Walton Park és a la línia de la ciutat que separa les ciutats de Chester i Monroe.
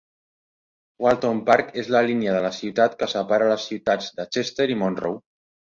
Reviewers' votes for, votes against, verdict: 2, 1, accepted